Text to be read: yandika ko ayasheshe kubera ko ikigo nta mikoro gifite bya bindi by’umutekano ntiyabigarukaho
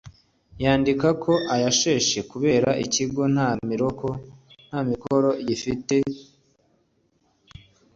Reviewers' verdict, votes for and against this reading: accepted, 2, 0